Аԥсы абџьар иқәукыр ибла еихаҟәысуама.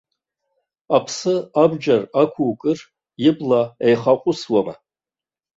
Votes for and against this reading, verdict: 1, 2, rejected